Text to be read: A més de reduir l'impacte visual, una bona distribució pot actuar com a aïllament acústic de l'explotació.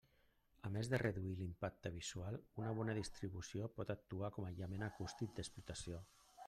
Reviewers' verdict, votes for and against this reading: rejected, 1, 2